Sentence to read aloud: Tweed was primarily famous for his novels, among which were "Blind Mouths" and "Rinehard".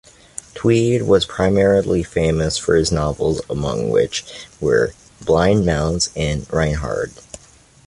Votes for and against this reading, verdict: 2, 0, accepted